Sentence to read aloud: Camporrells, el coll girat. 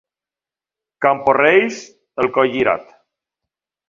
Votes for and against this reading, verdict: 2, 1, accepted